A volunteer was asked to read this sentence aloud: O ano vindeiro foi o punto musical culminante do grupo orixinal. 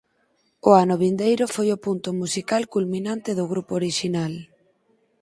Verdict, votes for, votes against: accepted, 4, 0